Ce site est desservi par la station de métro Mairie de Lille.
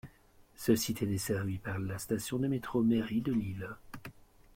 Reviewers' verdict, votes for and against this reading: accepted, 2, 1